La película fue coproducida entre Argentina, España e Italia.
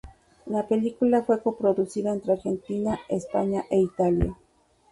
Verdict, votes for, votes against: rejected, 0, 2